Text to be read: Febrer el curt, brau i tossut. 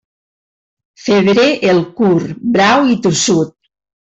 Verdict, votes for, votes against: accepted, 2, 0